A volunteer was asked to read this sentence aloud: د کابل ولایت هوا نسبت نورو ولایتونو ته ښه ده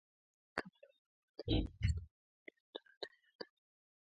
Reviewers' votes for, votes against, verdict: 0, 2, rejected